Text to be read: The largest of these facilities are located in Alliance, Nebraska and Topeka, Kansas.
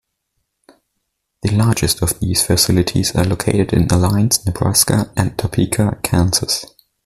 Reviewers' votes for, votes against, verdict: 2, 0, accepted